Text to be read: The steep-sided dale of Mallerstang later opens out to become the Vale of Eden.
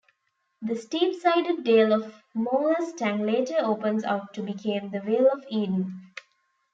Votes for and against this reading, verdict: 1, 2, rejected